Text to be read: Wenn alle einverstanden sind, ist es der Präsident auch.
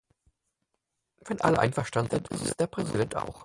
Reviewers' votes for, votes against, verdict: 2, 4, rejected